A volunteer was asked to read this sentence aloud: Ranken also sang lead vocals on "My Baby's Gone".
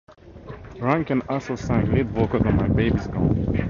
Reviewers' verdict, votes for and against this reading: accepted, 2, 0